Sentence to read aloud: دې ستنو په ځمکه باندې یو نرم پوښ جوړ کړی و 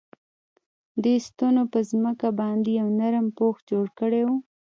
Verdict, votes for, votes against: rejected, 1, 2